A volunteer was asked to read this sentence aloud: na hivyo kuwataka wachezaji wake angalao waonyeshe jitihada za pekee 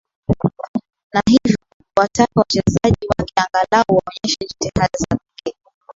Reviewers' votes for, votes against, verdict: 7, 0, accepted